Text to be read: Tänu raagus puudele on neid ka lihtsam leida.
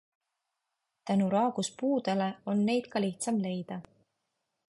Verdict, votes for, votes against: accepted, 2, 0